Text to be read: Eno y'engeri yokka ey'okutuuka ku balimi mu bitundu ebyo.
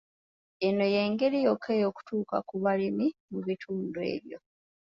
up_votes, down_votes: 2, 0